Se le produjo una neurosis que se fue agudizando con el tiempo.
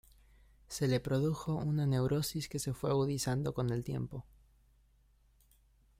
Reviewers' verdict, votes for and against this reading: rejected, 0, 2